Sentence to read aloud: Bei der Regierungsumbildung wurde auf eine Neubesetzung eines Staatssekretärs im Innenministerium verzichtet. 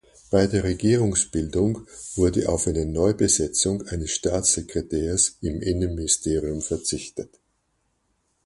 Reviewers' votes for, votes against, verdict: 0, 4, rejected